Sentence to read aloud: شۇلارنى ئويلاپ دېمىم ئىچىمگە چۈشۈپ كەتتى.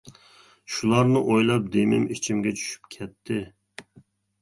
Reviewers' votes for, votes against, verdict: 3, 0, accepted